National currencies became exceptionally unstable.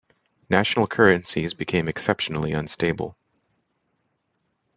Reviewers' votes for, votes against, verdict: 2, 1, accepted